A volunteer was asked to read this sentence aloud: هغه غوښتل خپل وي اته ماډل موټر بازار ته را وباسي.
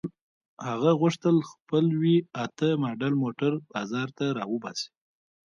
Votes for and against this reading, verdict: 0, 2, rejected